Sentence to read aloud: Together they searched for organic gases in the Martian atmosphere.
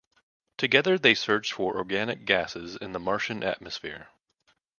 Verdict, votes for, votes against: accepted, 2, 0